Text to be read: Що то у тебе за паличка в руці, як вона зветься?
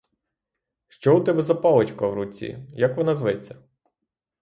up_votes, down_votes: 3, 3